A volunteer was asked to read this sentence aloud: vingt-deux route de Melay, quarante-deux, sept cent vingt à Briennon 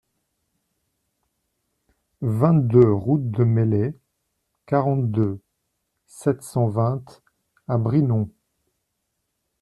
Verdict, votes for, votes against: rejected, 1, 2